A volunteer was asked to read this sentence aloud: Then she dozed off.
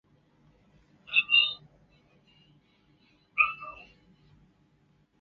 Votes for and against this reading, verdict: 0, 2, rejected